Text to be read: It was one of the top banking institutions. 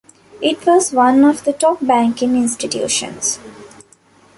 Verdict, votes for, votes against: accepted, 2, 1